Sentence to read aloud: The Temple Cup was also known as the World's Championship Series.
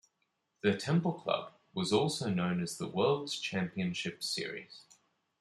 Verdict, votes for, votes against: rejected, 1, 2